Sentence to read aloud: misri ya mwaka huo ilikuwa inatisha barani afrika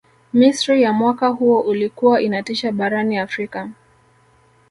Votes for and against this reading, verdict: 1, 2, rejected